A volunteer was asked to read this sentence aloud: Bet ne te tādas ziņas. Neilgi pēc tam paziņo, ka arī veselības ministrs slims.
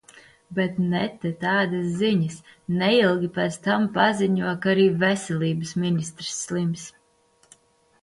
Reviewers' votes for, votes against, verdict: 2, 0, accepted